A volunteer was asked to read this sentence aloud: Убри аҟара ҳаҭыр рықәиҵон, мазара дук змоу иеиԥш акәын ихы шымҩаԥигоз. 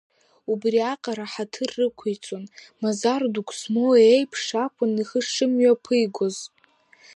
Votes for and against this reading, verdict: 3, 0, accepted